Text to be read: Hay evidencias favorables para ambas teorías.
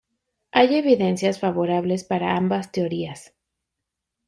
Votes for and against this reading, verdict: 2, 0, accepted